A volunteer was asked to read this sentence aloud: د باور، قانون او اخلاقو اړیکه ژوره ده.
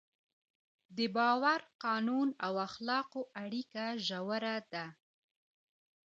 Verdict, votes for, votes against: accepted, 2, 0